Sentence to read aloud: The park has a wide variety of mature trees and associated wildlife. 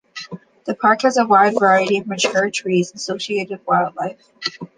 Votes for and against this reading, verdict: 2, 1, accepted